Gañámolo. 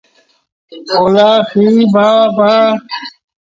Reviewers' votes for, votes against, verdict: 0, 2, rejected